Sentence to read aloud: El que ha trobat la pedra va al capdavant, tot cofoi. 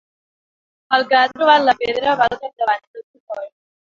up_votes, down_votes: 2, 3